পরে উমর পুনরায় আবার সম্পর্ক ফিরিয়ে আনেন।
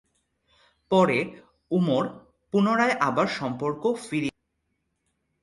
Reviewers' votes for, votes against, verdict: 0, 2, rejected